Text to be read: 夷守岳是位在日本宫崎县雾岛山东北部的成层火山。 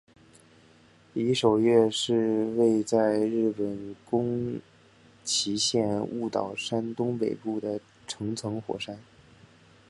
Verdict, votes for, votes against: accepted, 3, 1